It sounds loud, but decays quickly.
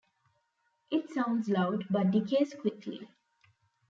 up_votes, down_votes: 2, 0